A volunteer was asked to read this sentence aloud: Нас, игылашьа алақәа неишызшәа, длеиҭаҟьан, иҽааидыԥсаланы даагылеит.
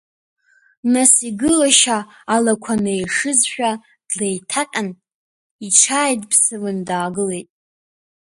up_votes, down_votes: 2, 0